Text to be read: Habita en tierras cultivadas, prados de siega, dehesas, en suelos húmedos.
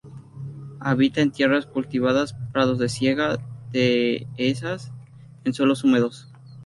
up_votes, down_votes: 2, 0